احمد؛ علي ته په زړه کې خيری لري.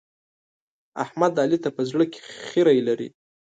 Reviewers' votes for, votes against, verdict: 2, 0, accepted